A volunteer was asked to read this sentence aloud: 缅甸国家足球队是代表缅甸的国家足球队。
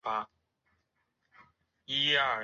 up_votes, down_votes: 0, 3